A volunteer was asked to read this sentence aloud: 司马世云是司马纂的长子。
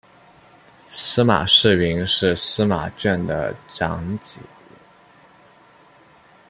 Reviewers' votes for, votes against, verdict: 1, 2, rejected